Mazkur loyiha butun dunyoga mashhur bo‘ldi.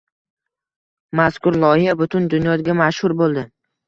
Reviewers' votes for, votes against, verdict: 2, 1, accepted